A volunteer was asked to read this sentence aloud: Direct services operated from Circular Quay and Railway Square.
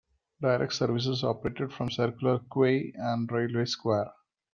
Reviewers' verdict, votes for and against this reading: accepted, 2, 0